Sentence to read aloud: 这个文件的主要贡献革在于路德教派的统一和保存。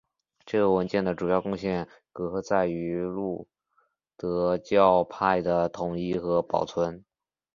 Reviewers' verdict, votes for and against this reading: accepted, 2, 0